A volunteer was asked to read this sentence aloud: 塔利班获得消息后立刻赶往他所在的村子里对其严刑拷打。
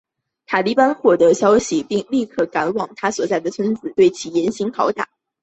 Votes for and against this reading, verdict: 6, 0, accepted